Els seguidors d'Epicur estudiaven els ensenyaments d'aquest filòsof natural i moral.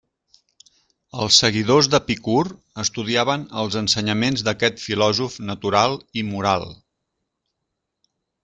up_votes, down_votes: 2, 0